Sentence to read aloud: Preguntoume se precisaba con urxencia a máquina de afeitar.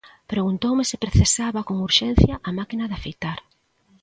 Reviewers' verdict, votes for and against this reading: accepted, 2, 0